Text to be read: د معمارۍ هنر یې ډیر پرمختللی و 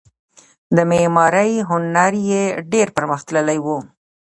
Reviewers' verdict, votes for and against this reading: rejected, 1, 2